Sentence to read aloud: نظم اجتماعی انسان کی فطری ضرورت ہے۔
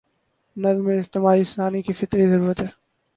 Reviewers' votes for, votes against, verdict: 2, 0, accepted